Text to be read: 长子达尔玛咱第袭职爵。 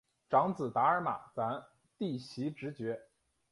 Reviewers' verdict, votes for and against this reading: accepted, 2, 0